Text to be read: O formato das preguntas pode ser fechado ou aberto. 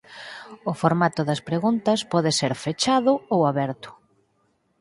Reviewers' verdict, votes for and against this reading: accepted, 4, 0